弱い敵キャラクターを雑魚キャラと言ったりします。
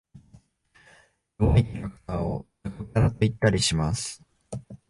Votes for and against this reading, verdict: 0, 3, rejected